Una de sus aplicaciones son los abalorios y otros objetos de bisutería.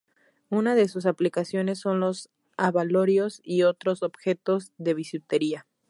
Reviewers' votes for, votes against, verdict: 4, 0, accepted